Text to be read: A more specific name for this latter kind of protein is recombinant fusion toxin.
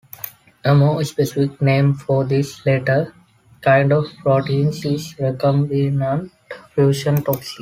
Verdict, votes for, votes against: accepted, 2, 0